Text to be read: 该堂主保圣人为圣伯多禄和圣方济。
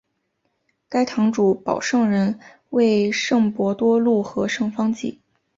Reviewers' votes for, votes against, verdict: 2, 0, accepted